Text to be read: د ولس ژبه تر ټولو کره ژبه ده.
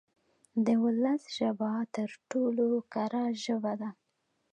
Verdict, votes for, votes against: accepted, 2, 0